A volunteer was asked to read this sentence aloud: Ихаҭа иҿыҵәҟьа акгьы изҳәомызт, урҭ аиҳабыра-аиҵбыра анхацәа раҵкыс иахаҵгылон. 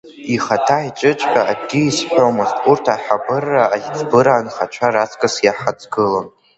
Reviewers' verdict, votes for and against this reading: rejected, 1, 2